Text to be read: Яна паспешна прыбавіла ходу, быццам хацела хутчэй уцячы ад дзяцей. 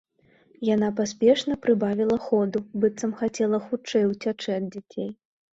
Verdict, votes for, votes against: accepted, 2, 0